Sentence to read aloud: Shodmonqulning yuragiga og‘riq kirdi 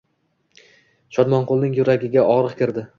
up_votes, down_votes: 2, 0